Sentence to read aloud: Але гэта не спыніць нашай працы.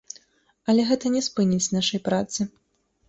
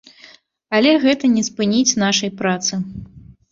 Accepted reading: first